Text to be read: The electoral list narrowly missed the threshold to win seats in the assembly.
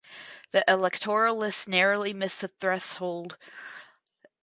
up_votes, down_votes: 0, 4